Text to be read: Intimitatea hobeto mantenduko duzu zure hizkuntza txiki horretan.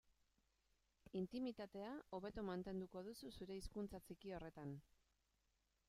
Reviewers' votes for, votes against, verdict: 1, 2, rejected